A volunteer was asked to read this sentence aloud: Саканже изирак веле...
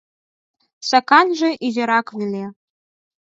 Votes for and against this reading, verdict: 4, 0, accepted